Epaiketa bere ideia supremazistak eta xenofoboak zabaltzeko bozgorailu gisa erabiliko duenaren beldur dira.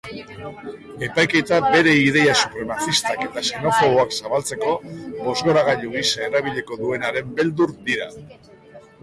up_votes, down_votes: 0, 3